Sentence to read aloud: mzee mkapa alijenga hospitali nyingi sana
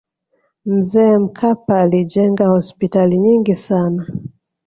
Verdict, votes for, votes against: accepted, 2, 0